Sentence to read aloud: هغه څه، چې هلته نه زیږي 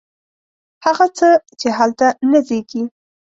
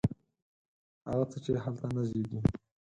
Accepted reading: first